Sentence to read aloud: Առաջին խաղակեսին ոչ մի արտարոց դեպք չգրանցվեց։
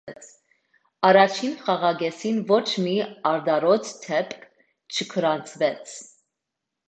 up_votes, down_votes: 1, 2